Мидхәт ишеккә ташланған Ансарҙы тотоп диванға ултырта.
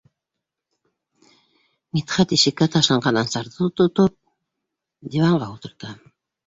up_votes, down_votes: 2, 0